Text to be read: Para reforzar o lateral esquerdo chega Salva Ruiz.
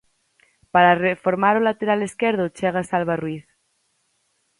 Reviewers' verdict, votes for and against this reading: rejected, 0, 4